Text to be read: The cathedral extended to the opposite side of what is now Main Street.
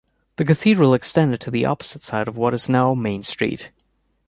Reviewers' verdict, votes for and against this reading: accepted, 2, 0